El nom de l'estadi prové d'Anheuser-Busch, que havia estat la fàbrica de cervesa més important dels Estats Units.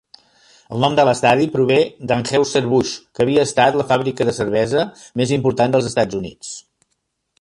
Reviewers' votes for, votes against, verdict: 2, 0, accepted